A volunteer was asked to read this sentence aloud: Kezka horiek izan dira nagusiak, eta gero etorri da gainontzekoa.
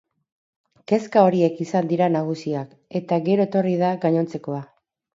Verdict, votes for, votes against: accepted, 4, 0